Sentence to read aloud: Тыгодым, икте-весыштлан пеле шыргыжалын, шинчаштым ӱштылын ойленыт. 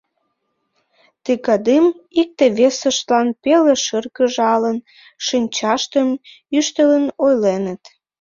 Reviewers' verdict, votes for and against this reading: rejected, 0, 2